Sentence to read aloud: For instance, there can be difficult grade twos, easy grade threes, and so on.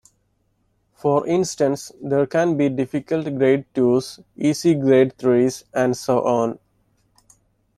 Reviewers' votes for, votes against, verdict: 2, 0, accepted